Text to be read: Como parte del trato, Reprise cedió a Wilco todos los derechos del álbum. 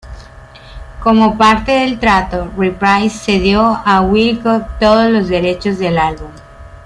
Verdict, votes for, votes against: rejected, 1, 2